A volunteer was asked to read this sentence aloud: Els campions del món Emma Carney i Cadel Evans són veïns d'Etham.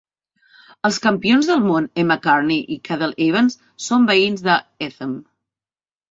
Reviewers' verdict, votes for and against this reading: accepted, 2, 0